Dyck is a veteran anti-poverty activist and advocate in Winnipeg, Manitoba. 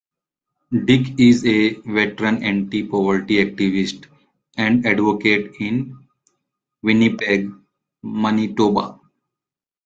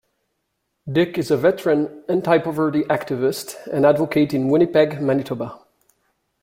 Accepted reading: second